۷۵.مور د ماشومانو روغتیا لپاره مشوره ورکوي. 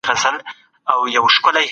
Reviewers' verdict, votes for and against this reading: rejected, 0, 2